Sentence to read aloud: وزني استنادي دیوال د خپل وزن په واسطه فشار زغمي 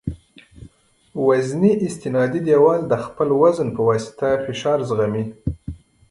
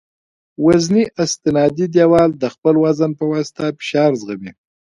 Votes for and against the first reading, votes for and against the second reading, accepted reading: 0, 2, 2, 1, second